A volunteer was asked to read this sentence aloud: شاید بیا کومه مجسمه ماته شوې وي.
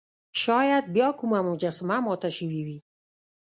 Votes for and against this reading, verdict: 2, 0, accepted